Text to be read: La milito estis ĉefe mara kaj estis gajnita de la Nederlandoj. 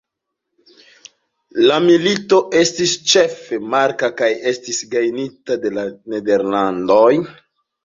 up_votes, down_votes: 1, 2